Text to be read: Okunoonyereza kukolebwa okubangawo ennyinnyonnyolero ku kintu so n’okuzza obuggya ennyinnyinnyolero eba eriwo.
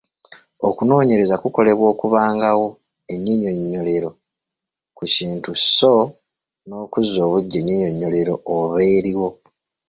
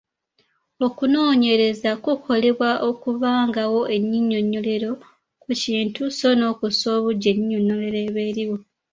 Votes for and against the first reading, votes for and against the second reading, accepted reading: 1, 2, 2, 1, second